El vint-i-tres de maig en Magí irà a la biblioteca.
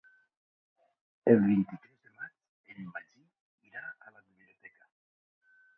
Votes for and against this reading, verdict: 0, 2, rejected